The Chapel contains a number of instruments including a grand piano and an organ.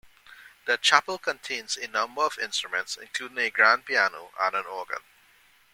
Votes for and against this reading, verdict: 2, 1, accepted